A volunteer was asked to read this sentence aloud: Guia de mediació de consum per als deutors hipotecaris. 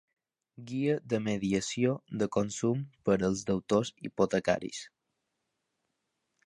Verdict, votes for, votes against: accepted, 2, 0